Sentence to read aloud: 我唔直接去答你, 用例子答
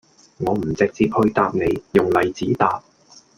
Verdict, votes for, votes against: accepted, 2, 0